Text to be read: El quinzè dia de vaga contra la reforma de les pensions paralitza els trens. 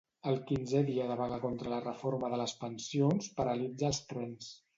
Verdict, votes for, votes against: rejected, 0, 2